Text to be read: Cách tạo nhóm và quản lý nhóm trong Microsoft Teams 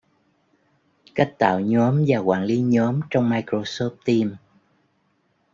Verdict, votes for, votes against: rejected, 1, 2